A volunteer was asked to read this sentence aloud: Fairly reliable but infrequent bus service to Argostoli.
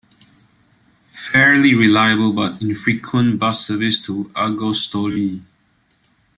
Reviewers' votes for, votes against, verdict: 2, 0, accepted